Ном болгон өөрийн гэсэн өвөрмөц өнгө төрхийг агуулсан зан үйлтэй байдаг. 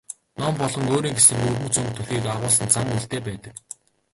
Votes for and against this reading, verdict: 0, 2, rejected